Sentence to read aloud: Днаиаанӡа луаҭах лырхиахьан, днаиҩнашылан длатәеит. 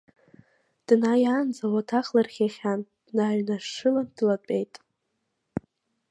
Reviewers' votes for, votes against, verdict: 2, 1, accepted